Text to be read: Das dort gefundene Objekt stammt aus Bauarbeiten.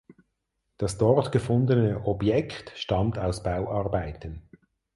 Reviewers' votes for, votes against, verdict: 4, 0, accepted